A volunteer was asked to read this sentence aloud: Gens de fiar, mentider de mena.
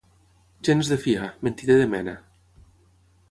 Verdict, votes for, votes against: accepted, 9, 0